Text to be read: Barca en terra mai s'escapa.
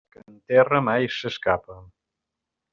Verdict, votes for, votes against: rejected, 1, 2